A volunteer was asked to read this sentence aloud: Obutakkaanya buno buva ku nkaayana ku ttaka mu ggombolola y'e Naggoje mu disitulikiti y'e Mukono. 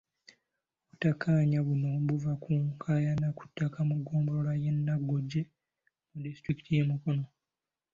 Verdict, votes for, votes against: accepted, 2, 1